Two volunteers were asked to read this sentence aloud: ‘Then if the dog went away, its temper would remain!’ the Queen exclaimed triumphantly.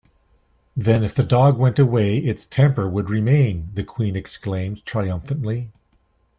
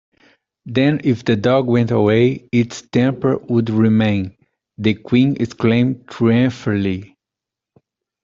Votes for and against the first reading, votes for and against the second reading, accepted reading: 2, 0, 1, 2, first